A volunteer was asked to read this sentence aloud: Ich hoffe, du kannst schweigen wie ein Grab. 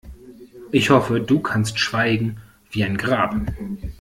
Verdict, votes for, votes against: accepted, 2, 1